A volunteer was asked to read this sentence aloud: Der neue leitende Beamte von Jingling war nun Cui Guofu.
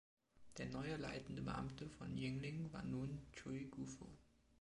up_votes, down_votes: 1, 2